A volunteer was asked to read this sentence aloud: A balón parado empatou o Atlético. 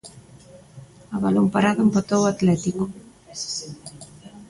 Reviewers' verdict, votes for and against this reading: rejected, 0, 2